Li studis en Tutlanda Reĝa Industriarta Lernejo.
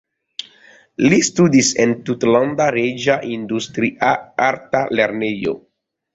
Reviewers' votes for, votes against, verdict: 0, 2, rejected